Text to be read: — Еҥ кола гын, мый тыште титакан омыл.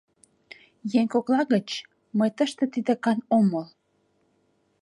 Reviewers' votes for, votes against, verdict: 0, 2, rejected